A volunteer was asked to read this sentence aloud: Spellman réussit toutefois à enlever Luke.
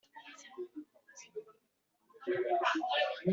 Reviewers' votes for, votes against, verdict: 0, 2, rejected